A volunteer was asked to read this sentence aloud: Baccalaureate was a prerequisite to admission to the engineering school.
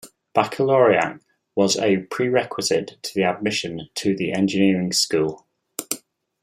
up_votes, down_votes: 0, 2